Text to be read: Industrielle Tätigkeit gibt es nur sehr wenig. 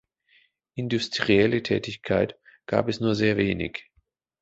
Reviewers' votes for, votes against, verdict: 0, 2, rejected